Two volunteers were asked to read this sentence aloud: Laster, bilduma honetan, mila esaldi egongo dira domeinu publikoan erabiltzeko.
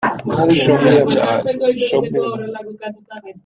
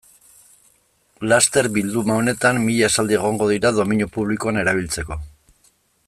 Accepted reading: second